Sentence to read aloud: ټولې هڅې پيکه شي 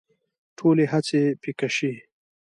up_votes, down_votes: 1, 2